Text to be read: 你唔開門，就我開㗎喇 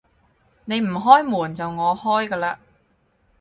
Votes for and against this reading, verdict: 4, 0, accepted